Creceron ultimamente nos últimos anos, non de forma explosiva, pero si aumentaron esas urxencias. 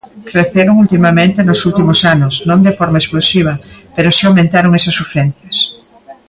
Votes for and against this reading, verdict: 2, 0, accepted